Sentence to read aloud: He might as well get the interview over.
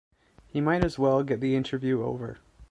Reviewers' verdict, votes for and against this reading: accepted, 2, 0